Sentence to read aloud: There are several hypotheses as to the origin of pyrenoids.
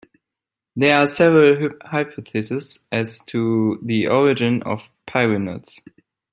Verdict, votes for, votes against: accepted, 2, 1